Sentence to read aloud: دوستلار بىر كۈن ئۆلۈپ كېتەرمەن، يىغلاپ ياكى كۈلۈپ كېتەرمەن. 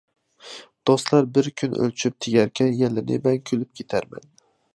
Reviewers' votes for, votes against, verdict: 0, 2, rejected